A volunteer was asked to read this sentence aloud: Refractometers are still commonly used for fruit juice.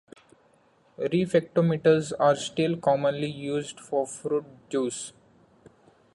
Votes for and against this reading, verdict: 2, 0, accepted